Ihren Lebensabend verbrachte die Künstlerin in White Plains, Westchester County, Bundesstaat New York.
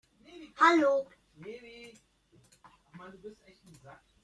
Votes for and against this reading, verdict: 0, 2, rejected